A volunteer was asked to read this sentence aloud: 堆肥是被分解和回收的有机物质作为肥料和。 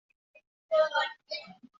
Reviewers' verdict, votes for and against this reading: rejected, 0, 4